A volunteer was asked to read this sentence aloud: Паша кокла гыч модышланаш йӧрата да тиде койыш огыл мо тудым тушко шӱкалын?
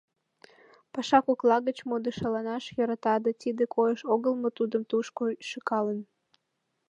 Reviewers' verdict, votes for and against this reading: rejected, 0, 2